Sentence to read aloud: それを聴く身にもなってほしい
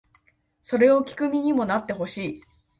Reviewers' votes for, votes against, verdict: 2, 0, accepted